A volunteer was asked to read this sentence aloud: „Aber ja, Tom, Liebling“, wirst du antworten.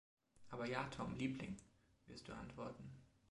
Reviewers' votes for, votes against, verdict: 2, 0, accepted